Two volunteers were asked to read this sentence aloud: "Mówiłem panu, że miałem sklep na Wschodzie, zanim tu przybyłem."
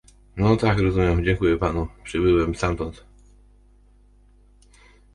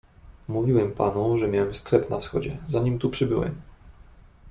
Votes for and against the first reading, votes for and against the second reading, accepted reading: 0, 2, 2, 0, second